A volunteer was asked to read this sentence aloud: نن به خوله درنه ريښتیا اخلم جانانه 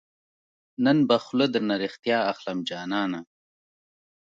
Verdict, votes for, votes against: rejected, 1, 2